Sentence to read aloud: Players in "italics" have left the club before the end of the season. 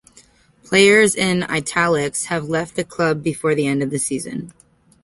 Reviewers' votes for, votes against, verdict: 2, 0, accepted